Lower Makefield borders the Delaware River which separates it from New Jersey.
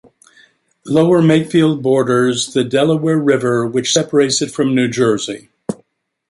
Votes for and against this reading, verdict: 2, 0, accepted